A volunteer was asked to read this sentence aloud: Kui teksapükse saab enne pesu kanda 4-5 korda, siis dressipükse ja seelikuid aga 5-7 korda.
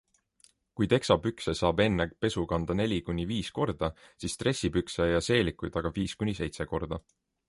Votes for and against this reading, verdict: 0, 2, rejected